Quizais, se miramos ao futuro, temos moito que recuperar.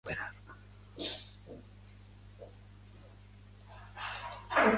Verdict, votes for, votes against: rejected, 0, 2